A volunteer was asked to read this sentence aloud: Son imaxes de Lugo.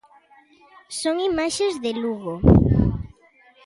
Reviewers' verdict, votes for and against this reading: accepted, 2, 0